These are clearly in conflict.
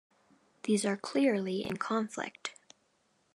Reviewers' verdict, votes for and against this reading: accepted, 2, 0